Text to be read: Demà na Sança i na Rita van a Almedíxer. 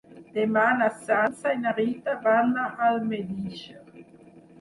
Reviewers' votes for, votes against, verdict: 4, 6, rejected